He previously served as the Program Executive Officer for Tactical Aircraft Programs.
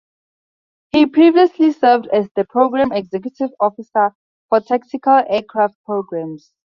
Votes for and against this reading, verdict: 2, 0, accepted